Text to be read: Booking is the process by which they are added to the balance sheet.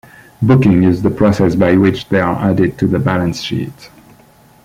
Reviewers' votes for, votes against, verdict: 2, 1, accepted